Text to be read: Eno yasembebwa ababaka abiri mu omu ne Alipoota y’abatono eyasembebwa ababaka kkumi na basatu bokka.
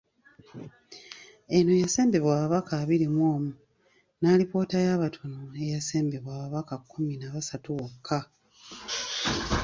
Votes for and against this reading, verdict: 2, 0, accepted